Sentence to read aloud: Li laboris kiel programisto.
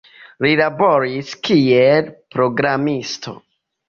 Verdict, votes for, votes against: accepted, 2, 0